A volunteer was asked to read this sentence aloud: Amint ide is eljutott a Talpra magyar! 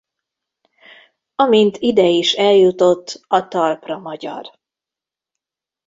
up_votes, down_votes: 1, 2